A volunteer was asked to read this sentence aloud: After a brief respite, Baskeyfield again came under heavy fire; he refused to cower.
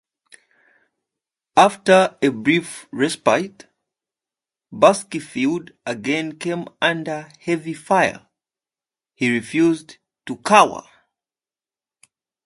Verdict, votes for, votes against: accepted, 2, 0